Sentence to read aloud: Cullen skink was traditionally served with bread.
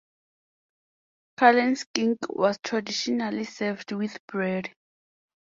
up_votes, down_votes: 4, 0